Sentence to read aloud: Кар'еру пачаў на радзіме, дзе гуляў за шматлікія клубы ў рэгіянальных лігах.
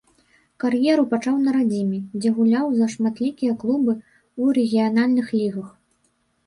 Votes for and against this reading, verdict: 2, 0, accepted